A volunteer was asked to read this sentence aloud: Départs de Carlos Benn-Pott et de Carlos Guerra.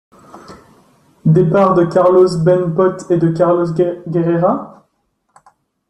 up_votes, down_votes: 0, 2